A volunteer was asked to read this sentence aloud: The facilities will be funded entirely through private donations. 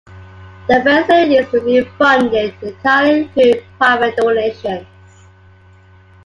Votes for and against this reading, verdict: 0, 2, rejected